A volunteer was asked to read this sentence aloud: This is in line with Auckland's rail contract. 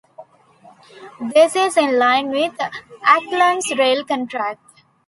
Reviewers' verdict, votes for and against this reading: rejected, 1, 2